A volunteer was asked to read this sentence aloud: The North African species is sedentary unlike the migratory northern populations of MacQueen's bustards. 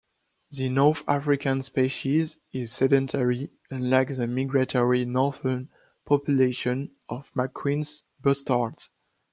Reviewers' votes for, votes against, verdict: 1, 2, rejected